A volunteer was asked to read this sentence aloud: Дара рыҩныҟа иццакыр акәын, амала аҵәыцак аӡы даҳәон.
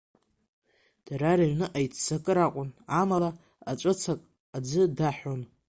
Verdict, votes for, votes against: accepted, 2, 0